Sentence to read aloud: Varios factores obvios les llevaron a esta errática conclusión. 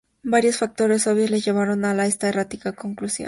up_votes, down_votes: 0, 2